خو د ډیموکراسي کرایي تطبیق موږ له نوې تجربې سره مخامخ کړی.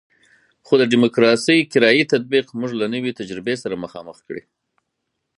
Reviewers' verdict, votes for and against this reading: accepted, 4, 2